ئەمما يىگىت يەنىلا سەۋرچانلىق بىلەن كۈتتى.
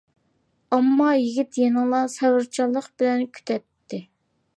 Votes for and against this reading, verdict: 0, 2, rejected